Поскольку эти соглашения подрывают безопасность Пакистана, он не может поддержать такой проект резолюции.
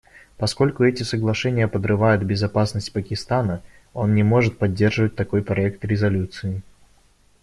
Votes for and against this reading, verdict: 0, 2, rejected